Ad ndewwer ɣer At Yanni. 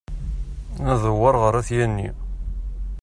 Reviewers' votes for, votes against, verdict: 2, 0, accepted